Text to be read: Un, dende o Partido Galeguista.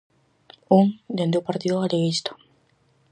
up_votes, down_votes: 4, 0